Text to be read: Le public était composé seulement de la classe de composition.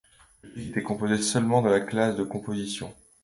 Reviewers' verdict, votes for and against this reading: rejected, 1, 2